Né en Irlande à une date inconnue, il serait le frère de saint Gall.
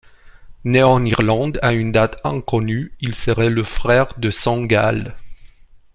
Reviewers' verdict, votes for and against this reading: rejected, 1, 2